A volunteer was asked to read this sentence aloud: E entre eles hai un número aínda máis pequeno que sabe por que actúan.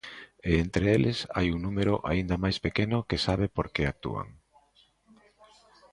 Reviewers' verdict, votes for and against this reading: rejected, 0, 2